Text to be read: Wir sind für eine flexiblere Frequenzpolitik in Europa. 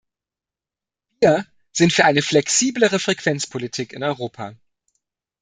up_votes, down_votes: 1, 2